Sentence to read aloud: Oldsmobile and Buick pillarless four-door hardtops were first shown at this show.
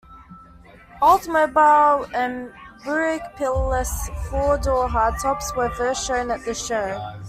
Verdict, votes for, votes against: rejected, 1, 2